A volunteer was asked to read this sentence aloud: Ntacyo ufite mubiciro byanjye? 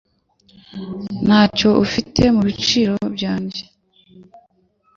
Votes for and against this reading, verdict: 2, 0, accepted